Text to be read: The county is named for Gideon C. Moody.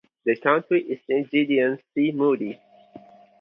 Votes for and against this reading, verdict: 0, 4, rejected